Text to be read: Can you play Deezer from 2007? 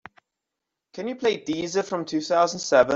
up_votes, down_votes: 0, 2